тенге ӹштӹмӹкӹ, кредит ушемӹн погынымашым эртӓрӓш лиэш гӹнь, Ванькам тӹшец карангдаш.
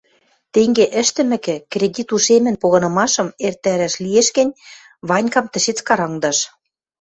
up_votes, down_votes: 1, 2